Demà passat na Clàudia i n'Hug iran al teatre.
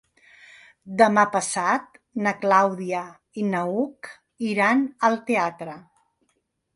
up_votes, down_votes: 0, 2